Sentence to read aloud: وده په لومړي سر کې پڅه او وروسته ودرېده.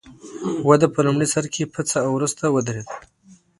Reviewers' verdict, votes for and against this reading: accepted, 2, 0